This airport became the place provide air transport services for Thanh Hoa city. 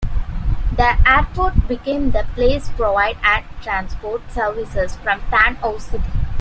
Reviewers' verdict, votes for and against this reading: rejected, 0, 2